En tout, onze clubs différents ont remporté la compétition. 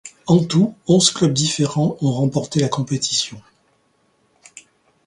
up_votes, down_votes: 2, 0